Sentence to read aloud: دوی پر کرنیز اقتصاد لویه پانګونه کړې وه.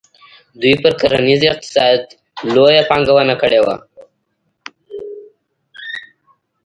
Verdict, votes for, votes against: accepted, 2, 0